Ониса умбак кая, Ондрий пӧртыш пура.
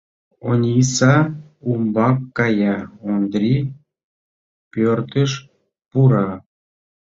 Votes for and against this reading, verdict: 2, 1, accepted